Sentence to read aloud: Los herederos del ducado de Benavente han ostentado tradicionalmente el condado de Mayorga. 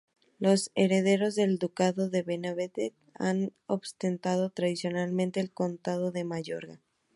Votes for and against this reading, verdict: 0, 2, rejected